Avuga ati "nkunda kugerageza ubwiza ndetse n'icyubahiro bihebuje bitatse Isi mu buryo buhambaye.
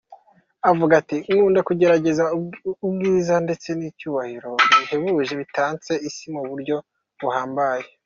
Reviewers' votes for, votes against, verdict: 2, 1, accepted